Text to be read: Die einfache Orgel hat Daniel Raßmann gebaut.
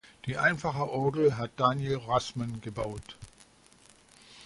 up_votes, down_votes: 2, 0